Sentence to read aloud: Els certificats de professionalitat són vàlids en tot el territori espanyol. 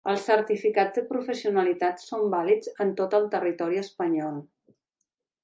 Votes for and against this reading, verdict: 2, 0, accepted